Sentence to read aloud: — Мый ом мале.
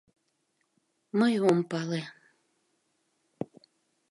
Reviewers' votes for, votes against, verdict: 0, 2, rejected